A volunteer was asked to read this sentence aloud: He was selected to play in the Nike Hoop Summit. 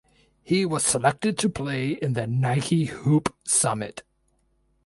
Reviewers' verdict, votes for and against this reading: accepted, 2, 0